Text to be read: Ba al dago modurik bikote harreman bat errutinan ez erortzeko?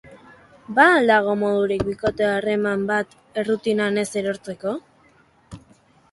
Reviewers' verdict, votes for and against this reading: accepted, 2, 0